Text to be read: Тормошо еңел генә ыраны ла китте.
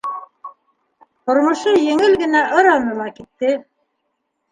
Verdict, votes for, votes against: rejected, 1, 2